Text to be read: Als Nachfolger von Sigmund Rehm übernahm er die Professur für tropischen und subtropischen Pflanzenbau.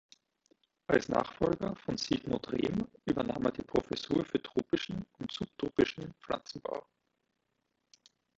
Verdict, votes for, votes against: accepted, 2, 0